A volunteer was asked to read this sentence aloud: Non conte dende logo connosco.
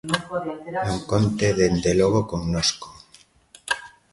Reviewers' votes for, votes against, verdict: 1, 2, rejected